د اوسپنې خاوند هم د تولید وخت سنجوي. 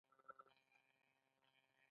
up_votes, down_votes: 1, 2